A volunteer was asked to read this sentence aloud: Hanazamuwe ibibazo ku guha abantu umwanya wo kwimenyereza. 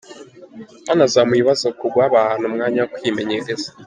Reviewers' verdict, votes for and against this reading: rejected, 0, 2